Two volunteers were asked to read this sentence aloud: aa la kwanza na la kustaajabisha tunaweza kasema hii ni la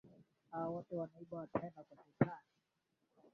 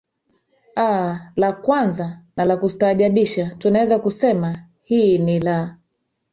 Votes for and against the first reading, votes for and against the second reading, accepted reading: 0, 2, 3, 1, second